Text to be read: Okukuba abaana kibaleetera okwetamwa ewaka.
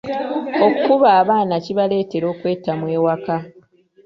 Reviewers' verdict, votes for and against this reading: rejected, 0, 2